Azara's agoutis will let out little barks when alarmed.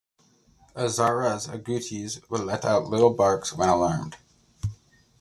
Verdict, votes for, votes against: accepted, 2, 1